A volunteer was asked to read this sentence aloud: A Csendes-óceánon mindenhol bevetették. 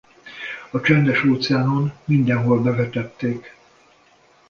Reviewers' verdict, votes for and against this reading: accepted, 2, 0